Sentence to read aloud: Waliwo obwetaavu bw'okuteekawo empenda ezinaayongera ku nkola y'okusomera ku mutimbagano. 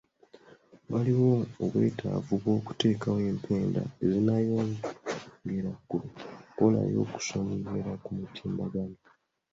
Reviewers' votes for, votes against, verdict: 0, 2, rejected